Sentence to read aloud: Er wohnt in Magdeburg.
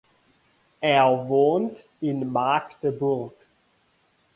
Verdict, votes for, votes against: accepted, 2, 0